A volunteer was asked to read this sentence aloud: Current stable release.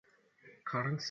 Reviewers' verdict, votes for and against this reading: rejected, 0, 2